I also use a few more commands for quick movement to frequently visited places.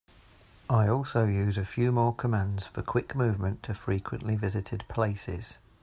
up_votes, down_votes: 2, 0